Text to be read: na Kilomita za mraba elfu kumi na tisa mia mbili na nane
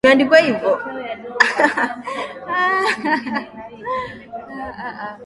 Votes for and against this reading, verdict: 0, 2, rejected